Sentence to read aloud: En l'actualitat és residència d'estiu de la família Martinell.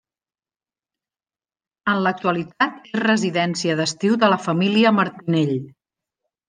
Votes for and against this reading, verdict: 1, 2, rejected